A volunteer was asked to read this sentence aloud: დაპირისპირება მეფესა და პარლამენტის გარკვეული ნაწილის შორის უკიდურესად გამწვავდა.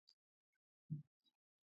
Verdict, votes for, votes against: rejected, 0, 2